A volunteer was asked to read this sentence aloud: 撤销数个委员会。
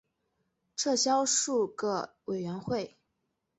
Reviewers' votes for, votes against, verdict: 2, 0, accepted